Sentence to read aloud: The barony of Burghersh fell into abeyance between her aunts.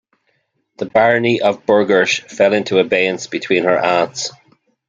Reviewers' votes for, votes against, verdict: 9, 0, accepted